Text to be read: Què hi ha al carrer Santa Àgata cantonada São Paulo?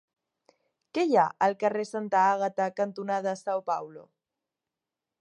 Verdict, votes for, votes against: accepted, 2, 0